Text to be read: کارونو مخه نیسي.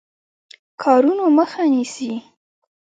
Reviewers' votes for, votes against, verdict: 2, 0, accepted